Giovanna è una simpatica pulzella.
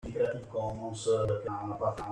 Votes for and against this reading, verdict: 0, 2, rejected